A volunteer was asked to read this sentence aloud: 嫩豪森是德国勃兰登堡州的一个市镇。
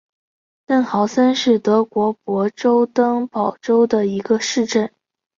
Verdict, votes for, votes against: accepted, 2, 0